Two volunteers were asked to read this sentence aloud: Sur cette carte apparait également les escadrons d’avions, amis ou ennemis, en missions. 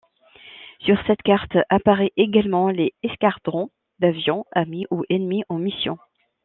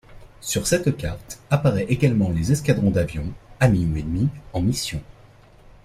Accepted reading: second